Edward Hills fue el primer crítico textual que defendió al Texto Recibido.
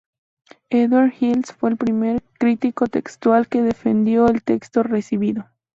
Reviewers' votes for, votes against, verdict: 2, 0, accepted